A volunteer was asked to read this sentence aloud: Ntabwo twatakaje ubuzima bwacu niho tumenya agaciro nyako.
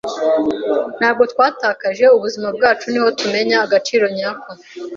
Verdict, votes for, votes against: accepted, 2, 0